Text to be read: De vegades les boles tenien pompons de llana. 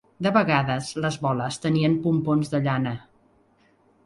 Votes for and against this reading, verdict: 2, 0, accepted